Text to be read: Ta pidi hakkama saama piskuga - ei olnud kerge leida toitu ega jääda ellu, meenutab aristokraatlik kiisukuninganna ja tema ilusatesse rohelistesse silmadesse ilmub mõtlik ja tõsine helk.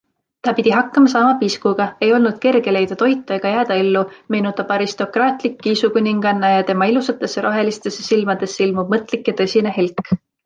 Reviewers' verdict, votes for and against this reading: accepted, 2, 0